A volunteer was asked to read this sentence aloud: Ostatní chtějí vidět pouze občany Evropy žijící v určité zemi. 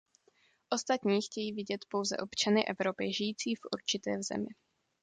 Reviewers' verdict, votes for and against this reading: accepted, 2, 0